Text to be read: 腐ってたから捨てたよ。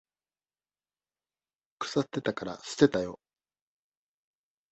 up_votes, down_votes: 1, 2